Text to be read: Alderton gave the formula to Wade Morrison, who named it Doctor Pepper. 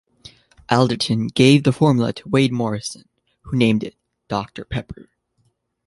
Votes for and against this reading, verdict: 2, 0, accepted